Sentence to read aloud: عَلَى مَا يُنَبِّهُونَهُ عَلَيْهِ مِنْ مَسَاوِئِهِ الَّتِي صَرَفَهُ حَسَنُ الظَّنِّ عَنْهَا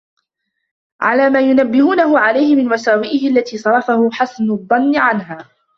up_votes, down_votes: 2, 1